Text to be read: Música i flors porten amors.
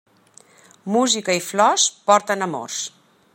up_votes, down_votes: 3, 0